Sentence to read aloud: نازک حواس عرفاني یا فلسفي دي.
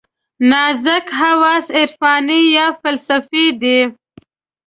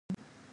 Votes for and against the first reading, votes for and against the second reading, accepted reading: 2, 1, 2, 4, first